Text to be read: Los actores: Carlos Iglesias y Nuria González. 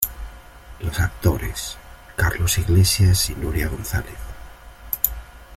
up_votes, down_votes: 2, 0